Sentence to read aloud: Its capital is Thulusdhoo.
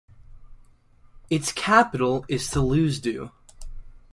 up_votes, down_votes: 2, 0